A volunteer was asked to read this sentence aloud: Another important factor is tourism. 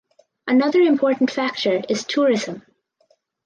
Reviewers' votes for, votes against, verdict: 4, 0, accepted